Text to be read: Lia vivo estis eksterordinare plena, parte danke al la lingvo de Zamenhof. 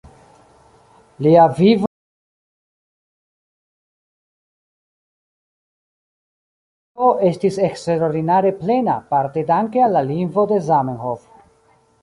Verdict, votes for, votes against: rejected, 0, 2